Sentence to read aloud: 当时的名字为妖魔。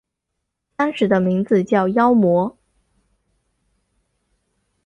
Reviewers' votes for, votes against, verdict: 2, 1, accepted